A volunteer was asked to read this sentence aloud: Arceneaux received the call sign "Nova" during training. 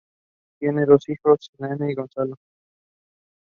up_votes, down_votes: 0, 2